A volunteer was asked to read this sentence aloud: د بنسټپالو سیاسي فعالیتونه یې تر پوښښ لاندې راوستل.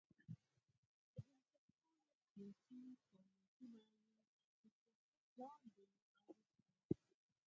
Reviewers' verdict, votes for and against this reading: rejected, 2, 4